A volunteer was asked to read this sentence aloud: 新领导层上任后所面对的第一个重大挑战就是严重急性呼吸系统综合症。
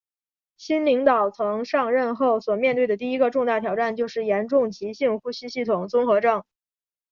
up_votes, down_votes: 4, 1